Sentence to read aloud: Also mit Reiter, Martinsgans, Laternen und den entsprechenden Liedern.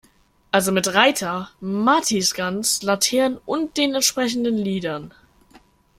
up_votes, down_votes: 0, 2